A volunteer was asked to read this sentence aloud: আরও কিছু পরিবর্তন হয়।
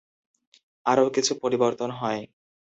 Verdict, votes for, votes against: accepted, 2, 0